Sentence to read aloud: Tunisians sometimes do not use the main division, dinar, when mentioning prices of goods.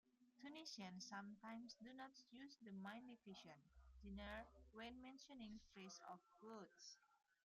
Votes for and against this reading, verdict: 1, 2, rejected